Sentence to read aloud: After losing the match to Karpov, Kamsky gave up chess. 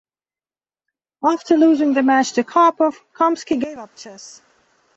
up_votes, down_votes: 2, 0